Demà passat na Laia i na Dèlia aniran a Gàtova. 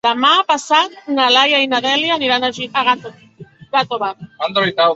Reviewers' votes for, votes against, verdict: 0, 3, rejected